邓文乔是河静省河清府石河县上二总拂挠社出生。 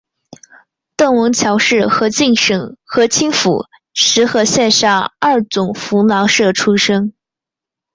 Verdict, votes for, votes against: accepted, 4, 3